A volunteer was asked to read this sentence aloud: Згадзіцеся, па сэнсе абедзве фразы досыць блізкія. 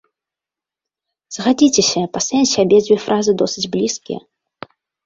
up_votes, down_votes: 0, 2